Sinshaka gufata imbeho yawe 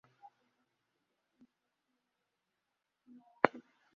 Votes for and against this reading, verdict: 1, 2, rejected